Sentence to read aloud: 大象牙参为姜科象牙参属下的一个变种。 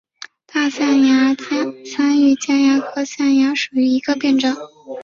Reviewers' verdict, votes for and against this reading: rejected, 0, 2